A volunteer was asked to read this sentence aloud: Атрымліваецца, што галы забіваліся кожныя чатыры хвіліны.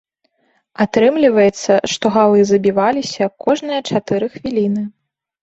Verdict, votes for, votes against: accepted, 2, 0